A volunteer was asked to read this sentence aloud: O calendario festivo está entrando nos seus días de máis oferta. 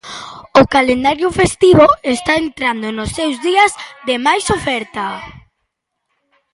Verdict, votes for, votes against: accepted, 2, 1